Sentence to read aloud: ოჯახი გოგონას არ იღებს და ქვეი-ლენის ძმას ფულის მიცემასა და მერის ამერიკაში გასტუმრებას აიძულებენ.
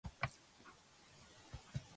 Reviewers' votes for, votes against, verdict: 0, 2, rejected